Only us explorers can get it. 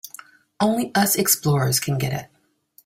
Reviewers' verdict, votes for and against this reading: accepted, 2, 1